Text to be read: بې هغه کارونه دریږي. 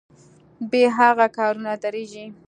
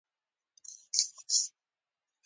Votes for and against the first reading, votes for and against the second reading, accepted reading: 2, 0, 1, 2, first